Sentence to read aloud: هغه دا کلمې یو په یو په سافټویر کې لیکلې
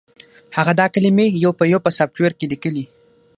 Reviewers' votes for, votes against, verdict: 6, 0, accepted